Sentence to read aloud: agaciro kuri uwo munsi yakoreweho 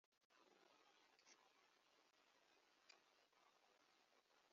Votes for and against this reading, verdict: 0, 2, rejected